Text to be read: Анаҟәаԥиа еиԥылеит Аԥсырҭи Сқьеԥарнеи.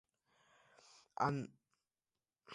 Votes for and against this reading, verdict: 0, 2, rejected